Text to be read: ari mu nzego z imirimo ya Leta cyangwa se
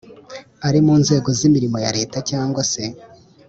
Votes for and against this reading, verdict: 3, 0, accepted